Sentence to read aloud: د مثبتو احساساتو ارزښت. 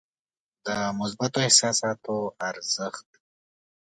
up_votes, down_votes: 2, 0